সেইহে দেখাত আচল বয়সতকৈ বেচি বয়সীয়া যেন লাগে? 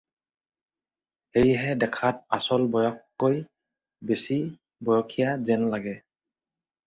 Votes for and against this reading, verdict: 4, 0, accepted